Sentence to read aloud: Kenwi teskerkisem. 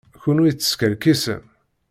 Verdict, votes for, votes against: accepted, 2, 0